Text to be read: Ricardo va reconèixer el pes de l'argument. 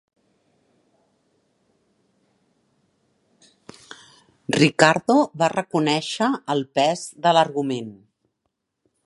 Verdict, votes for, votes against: accepted, 4, 0